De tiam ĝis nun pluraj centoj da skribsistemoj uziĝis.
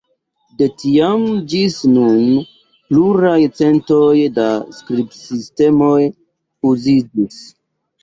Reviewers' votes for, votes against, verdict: 1, 2, rejected